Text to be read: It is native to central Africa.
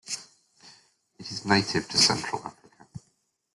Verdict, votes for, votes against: rejected, 0, 2